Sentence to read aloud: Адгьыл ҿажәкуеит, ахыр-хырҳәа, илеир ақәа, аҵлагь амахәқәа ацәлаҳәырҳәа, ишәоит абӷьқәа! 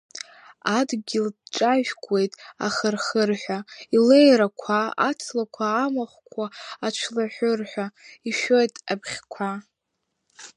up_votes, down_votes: 2, 1